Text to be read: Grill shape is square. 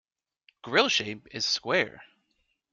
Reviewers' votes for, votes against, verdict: 2, 0, accepted